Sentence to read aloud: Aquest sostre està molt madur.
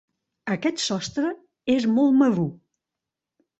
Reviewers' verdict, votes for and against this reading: rejected, 0, 2